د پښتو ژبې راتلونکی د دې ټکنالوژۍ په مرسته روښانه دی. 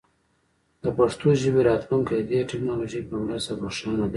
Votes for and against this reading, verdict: 0, 2, rejected